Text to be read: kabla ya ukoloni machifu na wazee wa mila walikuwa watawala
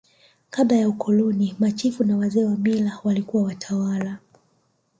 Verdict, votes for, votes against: rejected, 1, 2